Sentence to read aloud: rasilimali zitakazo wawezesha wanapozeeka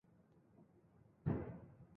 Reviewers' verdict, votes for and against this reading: rejected, 0, 2